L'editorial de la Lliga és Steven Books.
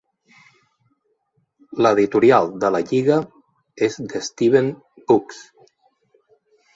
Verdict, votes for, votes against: rejected, 1, 4